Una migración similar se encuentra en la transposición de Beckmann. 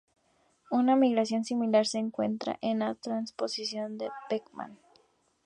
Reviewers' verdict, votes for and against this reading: accepted, 2, 0